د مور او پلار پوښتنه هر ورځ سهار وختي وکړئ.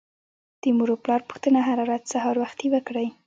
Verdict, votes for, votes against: accepted, 2, 0